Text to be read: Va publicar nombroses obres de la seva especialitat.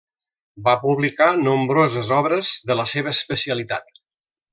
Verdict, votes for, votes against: rejected, 0, 2